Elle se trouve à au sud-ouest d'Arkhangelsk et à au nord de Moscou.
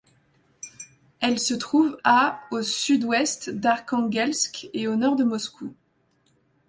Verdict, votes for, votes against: rejected, 1, 2